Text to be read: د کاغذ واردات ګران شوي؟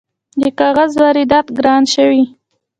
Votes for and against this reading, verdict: 0, 2, rejected